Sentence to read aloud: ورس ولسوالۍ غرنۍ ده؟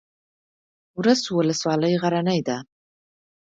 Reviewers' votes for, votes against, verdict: 2, 0, accepted